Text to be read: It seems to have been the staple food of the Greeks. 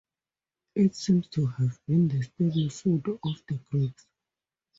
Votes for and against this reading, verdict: 4, 0, accepted